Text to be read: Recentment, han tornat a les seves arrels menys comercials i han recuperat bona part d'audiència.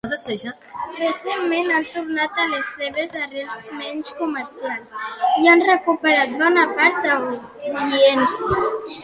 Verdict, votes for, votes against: rejected, 1, 2